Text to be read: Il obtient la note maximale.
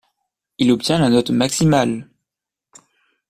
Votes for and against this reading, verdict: 2, 0, accepted